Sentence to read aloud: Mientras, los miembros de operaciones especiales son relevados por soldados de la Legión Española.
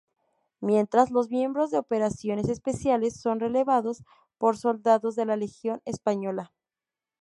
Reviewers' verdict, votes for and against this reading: rejected, 0, 2